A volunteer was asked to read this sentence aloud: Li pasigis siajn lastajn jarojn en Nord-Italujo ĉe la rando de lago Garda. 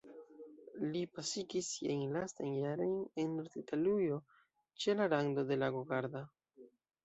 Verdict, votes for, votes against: rejected, 0, 2